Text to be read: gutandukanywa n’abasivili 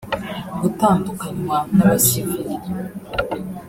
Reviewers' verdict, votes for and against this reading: rejected, 1, 2